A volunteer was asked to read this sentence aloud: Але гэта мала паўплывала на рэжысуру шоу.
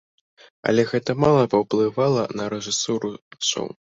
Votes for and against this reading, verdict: 2, 0, accepted